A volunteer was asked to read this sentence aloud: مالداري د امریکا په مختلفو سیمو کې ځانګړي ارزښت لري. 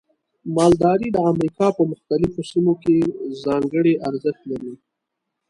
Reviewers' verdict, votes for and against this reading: accepted, 2, 0